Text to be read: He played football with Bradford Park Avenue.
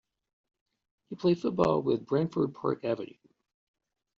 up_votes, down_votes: 1, 2